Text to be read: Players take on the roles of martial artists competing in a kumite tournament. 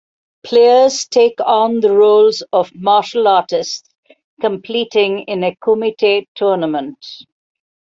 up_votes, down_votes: 0, 2